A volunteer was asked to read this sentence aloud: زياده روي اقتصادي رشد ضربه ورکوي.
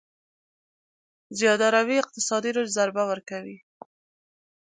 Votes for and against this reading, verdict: 2, 0, accepted